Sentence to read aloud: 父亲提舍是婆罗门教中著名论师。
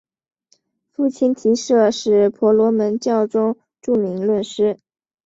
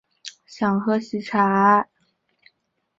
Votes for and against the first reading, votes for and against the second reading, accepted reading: 4, 1, 0, 3, first